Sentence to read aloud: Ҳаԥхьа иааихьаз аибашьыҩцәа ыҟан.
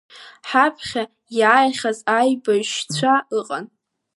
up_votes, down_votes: 2, 0